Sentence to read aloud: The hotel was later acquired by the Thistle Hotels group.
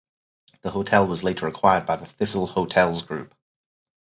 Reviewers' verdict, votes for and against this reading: accepted, 4, 0